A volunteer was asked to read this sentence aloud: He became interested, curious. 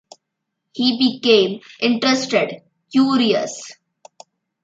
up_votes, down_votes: 1, 2